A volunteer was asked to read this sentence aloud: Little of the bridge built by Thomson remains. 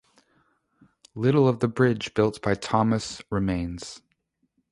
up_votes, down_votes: 2, 0